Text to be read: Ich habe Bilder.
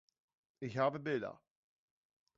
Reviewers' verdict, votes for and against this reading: accepted, 2, 0